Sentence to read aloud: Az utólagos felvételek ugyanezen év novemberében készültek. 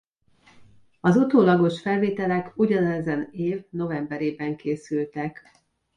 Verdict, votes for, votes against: accepted, 2, 0